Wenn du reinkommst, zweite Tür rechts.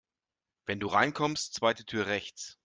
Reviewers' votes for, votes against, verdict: 2, 0, accepted